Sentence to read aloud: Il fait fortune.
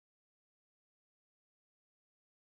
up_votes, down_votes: 0, 4